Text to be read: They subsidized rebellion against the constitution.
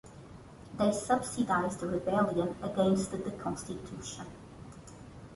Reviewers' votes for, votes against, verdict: 2, 1, accepted